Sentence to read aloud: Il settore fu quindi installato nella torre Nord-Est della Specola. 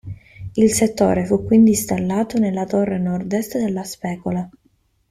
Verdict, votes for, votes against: accepted, 2, 0